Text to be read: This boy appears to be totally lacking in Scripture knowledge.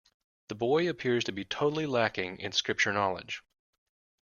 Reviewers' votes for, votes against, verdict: 2, 1, accepted